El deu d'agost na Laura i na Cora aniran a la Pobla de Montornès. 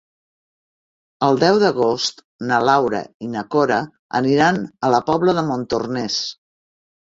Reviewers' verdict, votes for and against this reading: accepted, 3, 0